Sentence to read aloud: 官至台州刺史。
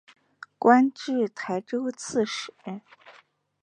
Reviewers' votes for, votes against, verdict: 2, 0, accepted